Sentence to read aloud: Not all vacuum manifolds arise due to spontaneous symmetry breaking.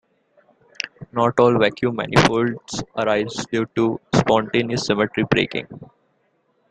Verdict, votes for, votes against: accepted, 2, 0